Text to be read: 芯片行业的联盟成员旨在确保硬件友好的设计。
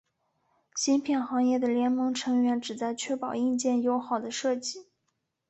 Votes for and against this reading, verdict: 4, 0, accepted